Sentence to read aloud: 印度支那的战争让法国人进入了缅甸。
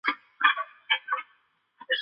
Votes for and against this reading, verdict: 1, 2, rejected